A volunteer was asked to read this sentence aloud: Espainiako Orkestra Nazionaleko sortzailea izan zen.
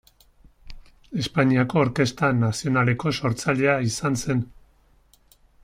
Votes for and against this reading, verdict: 2, 0, accepted